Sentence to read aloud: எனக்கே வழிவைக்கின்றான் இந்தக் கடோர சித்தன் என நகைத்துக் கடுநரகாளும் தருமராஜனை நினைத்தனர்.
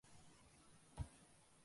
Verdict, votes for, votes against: rejected, 1, 2